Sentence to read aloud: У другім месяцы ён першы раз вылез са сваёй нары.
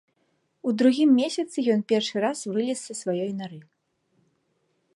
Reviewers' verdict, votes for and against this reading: accepted, 3, 0